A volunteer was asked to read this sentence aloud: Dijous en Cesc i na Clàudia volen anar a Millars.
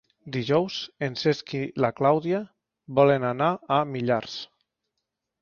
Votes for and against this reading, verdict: 3, 2, accepted